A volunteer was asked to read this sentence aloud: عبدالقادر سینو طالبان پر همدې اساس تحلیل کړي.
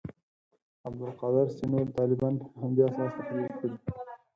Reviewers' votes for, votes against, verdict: 4, 0, accepted